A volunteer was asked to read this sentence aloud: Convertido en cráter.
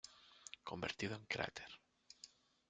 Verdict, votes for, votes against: rejected, 1, 2